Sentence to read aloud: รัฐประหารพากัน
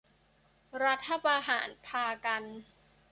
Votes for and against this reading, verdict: 2, 0, accepted